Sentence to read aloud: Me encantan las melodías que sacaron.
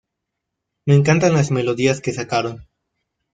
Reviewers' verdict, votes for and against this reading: accepted, 2, 0